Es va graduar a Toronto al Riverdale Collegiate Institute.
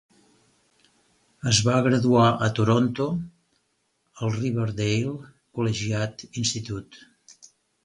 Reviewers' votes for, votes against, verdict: 4, 0, accepted